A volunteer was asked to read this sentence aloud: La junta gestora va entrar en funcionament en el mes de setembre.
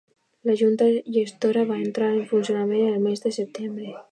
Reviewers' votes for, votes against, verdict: 2, 0, accepted